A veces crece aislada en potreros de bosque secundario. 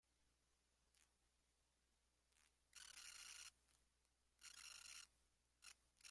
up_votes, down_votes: 0, 2